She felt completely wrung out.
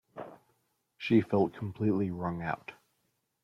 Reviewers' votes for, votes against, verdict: 2, 0, accepted